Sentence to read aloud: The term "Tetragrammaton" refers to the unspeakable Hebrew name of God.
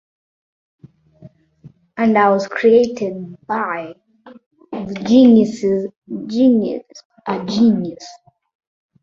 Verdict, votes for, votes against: rejected, 0, 2